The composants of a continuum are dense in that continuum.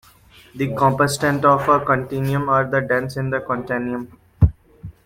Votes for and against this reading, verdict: 1, 2, rejected